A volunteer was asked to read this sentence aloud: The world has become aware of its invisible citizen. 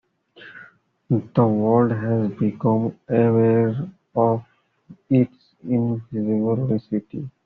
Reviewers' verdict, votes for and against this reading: rejected, 0, 2